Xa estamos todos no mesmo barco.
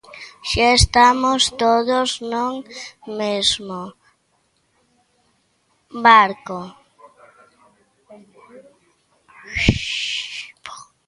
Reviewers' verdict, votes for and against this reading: rejected, 0, 2